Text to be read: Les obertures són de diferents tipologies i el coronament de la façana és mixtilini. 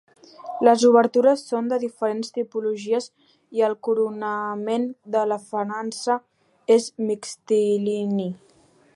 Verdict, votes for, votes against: rejected, 1, 2